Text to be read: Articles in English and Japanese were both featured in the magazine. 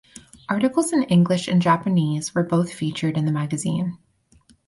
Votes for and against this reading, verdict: 4, 0, accepted